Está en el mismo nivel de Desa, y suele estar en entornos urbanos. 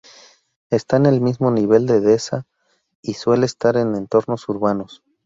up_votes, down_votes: 0, 2